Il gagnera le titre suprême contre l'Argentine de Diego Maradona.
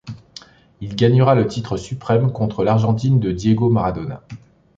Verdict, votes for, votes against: accepted, 2, 0